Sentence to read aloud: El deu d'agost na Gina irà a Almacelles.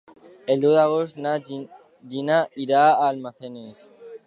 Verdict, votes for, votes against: rejected, 0, 2